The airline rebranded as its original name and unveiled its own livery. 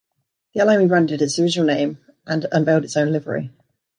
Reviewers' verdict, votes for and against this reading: accepted, 2, 1